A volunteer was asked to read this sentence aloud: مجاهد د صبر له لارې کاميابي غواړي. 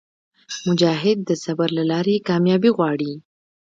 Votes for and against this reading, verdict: 2, 0, accepted